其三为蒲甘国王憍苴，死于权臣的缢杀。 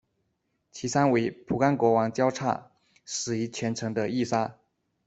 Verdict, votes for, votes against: rejected, 1, 2